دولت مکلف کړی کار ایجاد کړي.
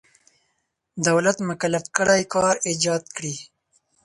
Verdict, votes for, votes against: accepted, 4, 0